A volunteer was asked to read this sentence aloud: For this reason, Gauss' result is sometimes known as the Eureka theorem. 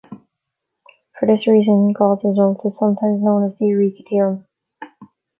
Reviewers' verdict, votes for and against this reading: rejected, 1, 2